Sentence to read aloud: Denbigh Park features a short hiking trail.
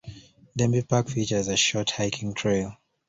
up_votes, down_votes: 2, 0